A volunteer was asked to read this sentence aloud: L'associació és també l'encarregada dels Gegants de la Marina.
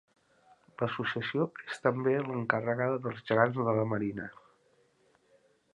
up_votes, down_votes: 1, 2